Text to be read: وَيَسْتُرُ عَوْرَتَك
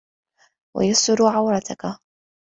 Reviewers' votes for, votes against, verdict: 2, 0, accepted